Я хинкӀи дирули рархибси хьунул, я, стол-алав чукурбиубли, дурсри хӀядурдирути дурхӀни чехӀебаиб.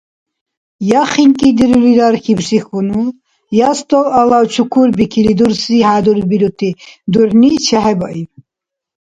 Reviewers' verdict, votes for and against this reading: rejected, 1, 2